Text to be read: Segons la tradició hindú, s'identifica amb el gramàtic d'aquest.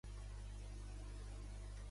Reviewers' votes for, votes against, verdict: 0, 2, rejected